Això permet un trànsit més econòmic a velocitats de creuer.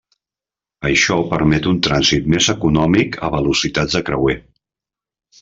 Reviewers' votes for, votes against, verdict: 3, 0, accepted